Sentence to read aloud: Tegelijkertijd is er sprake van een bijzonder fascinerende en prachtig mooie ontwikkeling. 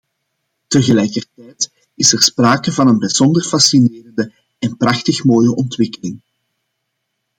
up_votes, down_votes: 0, 2